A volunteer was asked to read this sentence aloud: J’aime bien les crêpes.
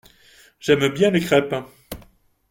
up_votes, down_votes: 2, 0